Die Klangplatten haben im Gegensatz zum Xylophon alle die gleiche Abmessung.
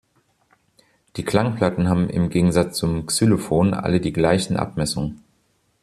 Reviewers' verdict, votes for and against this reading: rejected, 0, 2